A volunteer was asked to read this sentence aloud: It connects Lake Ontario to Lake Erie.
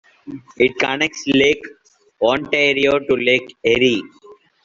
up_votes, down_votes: 2, 1